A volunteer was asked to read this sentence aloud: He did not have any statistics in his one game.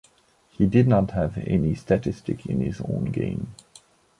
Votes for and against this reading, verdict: 1, 2, rejected